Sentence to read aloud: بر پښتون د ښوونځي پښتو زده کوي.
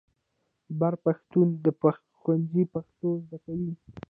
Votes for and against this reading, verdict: 2, 0, accepted